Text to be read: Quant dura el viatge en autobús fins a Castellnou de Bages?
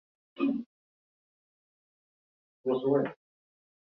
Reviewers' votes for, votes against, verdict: 0, 2, rejected